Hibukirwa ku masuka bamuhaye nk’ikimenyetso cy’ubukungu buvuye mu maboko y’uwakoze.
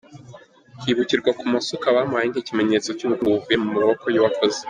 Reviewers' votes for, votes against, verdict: 2, 1, accepted